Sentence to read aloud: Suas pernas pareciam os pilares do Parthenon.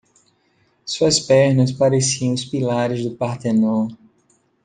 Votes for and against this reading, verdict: 2, 0, accepted